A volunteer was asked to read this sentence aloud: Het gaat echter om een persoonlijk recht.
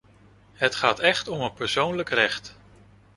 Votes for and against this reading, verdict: 0, 2, rejected